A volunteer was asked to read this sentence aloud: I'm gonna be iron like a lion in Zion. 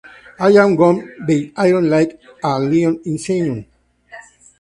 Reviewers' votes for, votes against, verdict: 2, 4, rejected